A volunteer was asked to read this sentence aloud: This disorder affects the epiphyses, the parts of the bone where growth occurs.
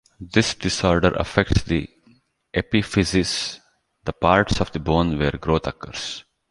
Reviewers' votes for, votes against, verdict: 2, 0, accepted